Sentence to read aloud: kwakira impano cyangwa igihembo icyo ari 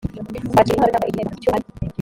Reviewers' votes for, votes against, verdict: 0, 2, rejected